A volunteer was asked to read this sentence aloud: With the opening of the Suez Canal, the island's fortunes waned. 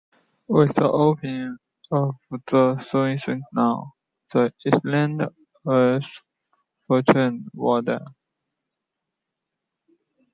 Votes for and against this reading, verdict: 2, 0, accepted